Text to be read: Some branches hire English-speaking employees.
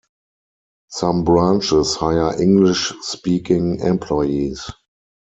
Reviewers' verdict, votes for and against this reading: accepted, 4, 0